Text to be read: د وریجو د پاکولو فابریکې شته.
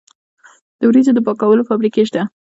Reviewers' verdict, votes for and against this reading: accepted, 2, 0